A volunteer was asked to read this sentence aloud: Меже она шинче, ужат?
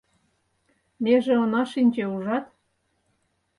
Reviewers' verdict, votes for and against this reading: accepted, 4, 0